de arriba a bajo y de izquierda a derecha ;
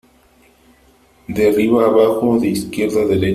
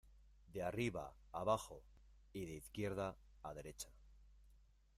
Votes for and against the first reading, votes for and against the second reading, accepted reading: 0, 2, 2, 0, second